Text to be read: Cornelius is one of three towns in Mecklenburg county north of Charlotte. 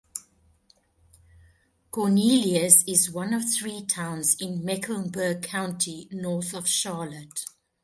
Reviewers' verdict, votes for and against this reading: accepted, 3, 1